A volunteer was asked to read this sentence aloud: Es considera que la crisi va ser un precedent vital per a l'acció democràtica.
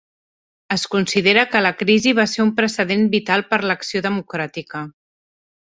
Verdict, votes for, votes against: rejected, 2, 3